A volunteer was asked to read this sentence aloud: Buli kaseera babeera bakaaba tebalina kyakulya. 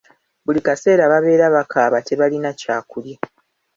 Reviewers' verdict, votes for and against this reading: accepted, 3, 0